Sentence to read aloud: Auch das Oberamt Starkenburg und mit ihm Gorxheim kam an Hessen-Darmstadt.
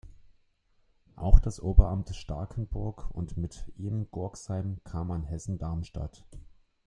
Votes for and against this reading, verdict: 2, 1, accepted